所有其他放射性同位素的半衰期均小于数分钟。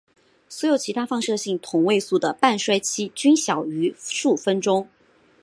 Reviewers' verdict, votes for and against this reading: accepted, 5, 0